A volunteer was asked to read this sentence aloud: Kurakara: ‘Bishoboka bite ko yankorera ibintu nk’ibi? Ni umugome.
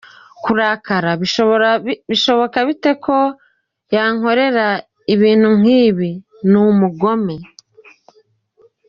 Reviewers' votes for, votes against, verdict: 0, 2, rejected